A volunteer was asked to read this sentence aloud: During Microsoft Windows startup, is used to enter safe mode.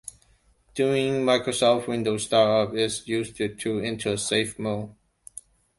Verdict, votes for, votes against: accepted, 2, 0